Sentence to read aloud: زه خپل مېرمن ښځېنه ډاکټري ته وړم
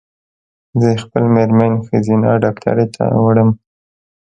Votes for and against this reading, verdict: 2, 0, accepted